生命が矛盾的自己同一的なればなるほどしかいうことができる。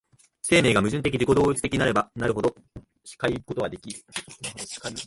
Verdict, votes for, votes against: rejected, 1, 3